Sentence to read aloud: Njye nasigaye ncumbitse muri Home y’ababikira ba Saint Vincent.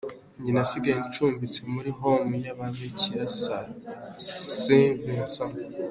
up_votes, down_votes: 2, 0